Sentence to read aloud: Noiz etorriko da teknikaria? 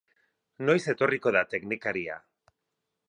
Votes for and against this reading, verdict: 6, 0, accepted